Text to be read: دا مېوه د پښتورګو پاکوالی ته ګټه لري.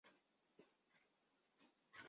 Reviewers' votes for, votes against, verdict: 0, 2, rejected